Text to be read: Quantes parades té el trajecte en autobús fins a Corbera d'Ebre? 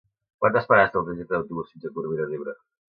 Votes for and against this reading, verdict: 1, 2, rejected